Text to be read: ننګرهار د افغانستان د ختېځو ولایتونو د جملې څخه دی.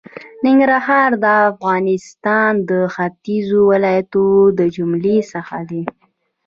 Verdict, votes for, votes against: accepted, 2, 0